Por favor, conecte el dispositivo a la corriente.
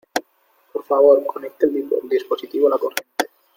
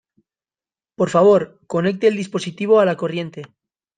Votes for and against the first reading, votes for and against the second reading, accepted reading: 1, 2, 2, 0, second